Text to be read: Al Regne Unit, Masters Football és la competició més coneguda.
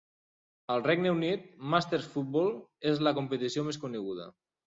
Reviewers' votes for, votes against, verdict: 3, 0, accepted